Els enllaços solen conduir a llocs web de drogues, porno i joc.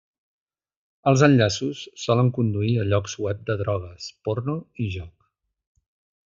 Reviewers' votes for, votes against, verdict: 3, 0, accepted